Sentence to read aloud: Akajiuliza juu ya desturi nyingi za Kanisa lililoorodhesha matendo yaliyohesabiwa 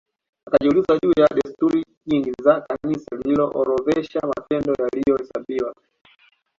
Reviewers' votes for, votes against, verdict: 2, 0, accepted